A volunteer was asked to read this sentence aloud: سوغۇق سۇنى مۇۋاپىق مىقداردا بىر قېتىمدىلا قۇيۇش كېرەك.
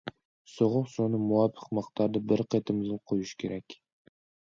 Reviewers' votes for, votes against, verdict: 1, 2, rejected